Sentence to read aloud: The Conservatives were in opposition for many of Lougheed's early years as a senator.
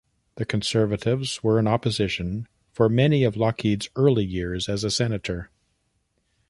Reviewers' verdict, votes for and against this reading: accepted, 2, 0